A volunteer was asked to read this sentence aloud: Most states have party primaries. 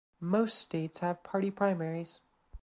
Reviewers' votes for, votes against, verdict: 2, 0, accepted